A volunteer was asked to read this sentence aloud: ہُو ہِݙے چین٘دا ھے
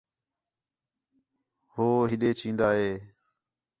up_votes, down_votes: 6, 0